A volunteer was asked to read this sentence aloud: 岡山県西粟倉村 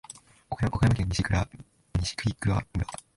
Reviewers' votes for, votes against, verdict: 2, 0, accepted